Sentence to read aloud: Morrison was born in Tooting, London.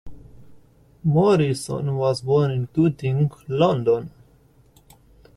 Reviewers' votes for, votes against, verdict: 2, 0, accepted